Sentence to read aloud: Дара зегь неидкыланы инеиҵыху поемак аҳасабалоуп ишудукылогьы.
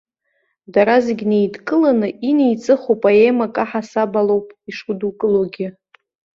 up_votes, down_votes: 2, 0